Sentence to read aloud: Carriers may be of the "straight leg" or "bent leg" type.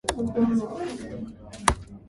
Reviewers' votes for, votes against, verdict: 0, 2, rejected